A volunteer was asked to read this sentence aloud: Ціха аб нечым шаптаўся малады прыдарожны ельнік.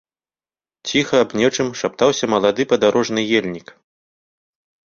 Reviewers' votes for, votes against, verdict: 0, 2, rejected